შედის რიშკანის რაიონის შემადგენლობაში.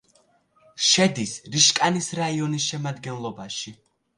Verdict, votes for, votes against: accepted, 2, 0